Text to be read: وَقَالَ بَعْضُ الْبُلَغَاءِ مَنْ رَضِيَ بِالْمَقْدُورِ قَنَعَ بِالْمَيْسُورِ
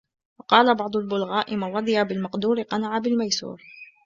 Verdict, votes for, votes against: rejected, 1, 2